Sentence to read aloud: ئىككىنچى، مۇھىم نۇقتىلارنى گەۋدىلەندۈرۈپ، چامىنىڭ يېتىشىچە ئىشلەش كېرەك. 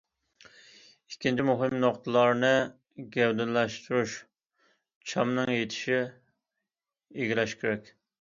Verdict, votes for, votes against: rejected, 0, 2